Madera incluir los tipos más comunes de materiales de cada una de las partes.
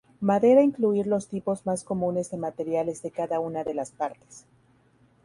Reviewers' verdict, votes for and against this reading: accepted, 2, 0